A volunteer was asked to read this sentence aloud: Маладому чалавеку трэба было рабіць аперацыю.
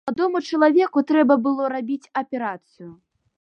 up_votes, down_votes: 1, 2